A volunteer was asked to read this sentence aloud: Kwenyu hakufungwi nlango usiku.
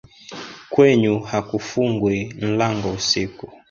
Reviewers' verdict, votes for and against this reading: rejected, 0, 2